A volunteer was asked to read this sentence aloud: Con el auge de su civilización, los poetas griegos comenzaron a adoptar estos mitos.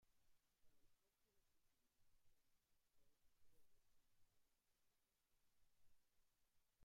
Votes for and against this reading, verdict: 0, 2, rejected